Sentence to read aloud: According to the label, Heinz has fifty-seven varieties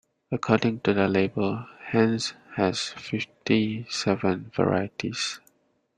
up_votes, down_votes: 1, 2